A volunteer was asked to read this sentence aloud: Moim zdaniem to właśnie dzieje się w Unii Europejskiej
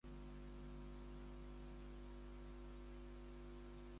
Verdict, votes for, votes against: rejected, 0, 2